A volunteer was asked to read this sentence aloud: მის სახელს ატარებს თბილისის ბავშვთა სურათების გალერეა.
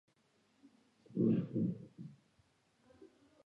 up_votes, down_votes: 0, 2